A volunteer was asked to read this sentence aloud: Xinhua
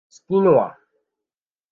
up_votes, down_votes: 1, 2